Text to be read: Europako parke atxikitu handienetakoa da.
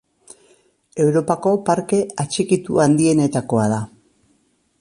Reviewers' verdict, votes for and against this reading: accepted, 2, 1